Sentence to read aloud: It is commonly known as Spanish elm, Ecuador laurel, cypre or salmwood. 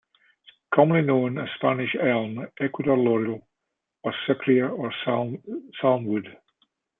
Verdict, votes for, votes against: accepted, 2, 1